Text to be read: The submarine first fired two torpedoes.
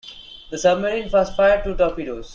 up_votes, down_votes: 2, 0